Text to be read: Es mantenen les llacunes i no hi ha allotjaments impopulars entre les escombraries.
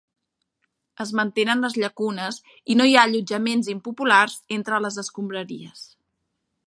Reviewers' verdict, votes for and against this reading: accepted, 3, 0